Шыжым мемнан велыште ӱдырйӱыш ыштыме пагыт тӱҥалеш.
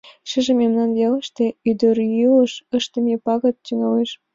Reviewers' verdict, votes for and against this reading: accepted, 2, 0